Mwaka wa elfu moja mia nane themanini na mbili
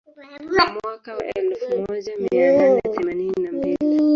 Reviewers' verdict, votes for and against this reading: rejected, 0, 3